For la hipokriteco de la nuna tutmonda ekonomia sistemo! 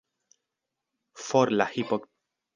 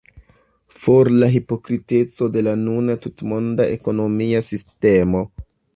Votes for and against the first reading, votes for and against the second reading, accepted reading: 1, 2, 2, 1, second